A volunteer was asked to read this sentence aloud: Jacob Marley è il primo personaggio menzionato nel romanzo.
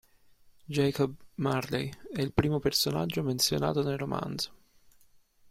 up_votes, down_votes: 2, 0